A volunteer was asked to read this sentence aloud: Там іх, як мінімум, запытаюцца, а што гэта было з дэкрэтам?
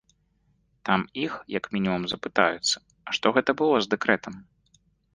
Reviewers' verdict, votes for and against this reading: accepted, 3, 0